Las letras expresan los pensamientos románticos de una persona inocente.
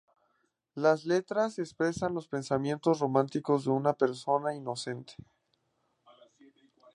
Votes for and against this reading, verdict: 2, 0, accepted